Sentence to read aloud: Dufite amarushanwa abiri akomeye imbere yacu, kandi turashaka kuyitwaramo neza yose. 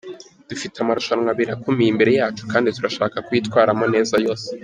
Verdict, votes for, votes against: accepted, 2, 0